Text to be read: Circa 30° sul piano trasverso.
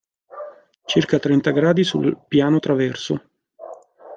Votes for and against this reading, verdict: 0, 2, rejected